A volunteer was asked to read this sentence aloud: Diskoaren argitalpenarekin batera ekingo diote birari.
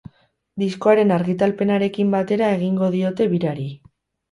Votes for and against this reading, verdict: 0, 2, rejected